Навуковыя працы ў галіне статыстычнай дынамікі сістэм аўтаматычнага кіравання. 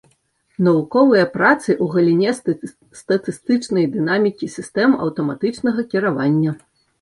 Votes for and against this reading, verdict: 0, 2, rejected